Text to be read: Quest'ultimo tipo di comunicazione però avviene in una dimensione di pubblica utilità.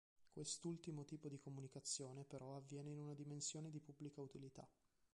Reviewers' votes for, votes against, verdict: 2, 1, accepted